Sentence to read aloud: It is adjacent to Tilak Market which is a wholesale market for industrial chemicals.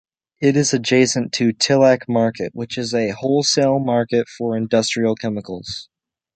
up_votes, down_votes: 2, 0